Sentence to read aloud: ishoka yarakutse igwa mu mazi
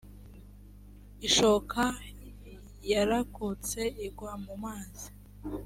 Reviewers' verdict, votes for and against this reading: accepted, 3, 0